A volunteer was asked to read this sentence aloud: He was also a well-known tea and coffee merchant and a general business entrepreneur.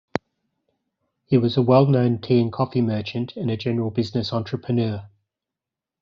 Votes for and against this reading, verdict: 0, 2, rejected